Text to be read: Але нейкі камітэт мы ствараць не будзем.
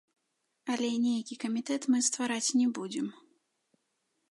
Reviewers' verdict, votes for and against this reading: rejected, 0, 2